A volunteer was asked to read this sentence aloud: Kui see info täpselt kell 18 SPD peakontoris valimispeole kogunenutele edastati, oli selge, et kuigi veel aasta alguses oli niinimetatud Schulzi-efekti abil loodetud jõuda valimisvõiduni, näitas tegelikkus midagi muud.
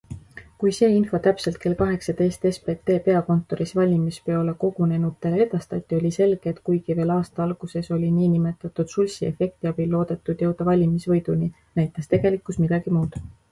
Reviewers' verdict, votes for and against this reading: rejected, 0, 2